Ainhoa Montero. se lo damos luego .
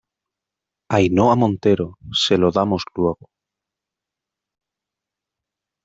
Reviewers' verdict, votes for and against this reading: accepted, 2, 0